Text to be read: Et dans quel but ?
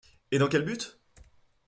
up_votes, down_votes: 2, 0